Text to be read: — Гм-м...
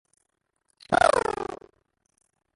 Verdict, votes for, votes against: rejected, 0, 2